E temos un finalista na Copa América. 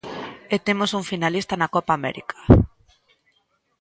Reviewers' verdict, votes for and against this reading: accepted, 2, 0